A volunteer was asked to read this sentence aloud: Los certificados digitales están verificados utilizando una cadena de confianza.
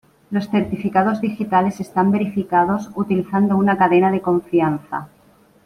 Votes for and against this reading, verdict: 2, 0, accepted